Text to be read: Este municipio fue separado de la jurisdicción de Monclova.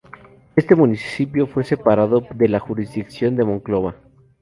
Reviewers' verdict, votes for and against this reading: accepted, 4, 0